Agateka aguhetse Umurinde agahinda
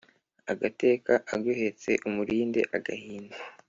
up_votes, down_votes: 2, 0